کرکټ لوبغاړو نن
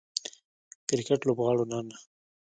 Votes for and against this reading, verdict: 1, 2, rejected